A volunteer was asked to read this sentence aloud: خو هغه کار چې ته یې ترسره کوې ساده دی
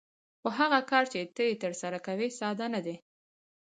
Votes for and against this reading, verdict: 2, 2, rejected